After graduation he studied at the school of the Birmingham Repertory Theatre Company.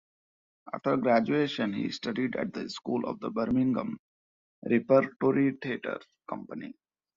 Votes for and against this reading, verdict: 2, 0, accepted